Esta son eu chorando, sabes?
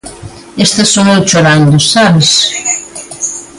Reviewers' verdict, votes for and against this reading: rejected, 1, 2